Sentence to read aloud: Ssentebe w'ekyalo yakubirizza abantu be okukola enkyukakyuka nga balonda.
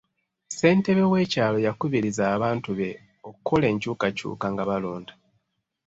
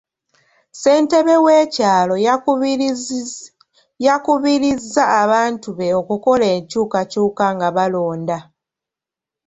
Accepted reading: second